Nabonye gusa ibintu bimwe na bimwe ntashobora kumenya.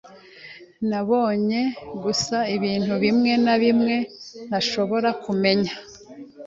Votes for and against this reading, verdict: 2, 0, accepted